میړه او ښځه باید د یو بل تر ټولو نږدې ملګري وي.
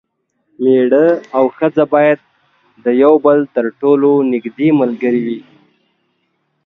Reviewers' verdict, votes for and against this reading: accepted, 2, 0